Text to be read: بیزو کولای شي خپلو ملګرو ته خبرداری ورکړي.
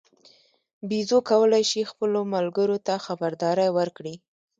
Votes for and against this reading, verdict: 1, 2, rejected